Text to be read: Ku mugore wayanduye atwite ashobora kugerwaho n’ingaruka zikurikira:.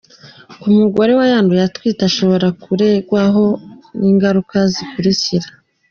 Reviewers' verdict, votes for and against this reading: rejected, 0, 2